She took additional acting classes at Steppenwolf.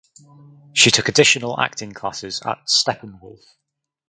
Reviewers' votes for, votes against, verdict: 4, 0, accepted